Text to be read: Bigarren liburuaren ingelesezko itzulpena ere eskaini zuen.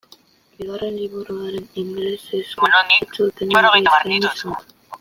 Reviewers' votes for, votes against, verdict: 0, 2, rejected